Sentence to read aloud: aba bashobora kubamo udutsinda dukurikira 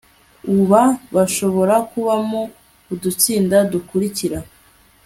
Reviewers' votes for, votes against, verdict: 2, 0, accepted